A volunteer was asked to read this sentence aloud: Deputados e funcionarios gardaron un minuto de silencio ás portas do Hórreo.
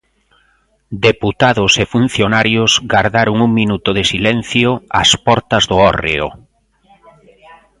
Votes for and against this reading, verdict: 1, 2, rejected